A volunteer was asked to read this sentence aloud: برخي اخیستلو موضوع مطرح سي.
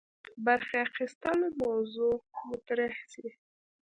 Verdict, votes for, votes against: rejected, 0, 3